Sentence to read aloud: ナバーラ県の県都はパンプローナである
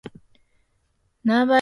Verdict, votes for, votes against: rejected, 0, 2